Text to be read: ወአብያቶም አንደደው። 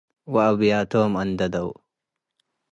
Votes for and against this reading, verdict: 2, 0, accepted